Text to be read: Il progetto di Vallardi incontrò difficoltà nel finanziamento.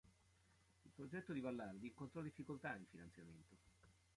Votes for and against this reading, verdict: 0, 2, rejected